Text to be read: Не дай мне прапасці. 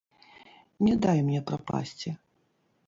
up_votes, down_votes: 0, 2